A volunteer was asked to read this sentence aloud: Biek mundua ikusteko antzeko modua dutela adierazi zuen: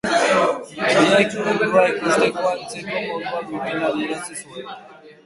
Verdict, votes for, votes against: rejected, 1, 2